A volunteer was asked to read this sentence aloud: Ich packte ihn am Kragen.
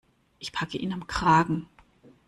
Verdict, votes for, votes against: rejected, 0, 2